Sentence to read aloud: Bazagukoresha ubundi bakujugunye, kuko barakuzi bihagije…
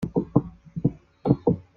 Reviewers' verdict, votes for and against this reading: rejected, 0, 4